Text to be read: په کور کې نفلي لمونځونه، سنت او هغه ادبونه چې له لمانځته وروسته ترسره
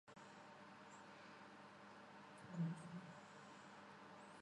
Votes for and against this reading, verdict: 0, 2, rejected